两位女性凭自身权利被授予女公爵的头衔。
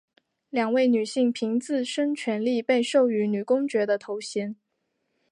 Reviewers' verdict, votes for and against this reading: accepted, 2, 1